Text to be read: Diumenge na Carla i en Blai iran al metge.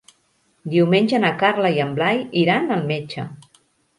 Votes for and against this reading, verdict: 3, 0, accepted